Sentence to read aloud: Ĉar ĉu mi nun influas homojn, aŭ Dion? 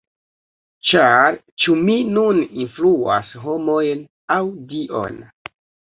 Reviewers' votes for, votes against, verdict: 1, 2, rejected